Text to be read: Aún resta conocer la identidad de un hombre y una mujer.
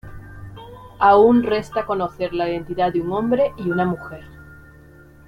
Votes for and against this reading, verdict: 1, 2, rejected